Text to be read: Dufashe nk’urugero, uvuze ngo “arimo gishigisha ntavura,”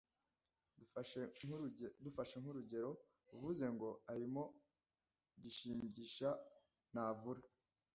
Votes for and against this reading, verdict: 1, 2, rejected